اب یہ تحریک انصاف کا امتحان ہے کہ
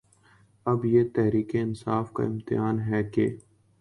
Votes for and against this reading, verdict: 2, 0, accepted